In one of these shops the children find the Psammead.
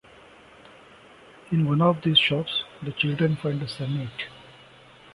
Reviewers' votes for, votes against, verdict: 0, 2, rejected